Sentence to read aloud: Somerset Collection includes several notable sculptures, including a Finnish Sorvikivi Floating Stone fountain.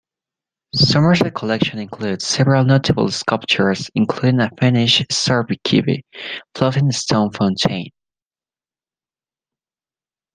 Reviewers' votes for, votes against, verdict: 0, 2, rejected